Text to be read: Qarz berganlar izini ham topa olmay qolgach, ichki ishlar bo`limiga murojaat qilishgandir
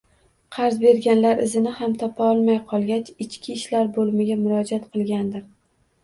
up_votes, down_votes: 1, 2